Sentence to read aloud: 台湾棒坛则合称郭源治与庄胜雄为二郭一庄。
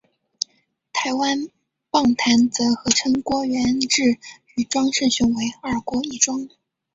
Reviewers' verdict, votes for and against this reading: accepted, 3, 0